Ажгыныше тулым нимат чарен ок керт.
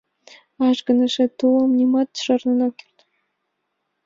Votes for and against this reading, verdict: 1, 3, rejected